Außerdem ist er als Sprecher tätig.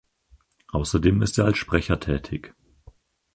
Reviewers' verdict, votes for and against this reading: accepted, 4, 0